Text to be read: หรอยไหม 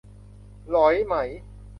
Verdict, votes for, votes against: accepted, 2, 0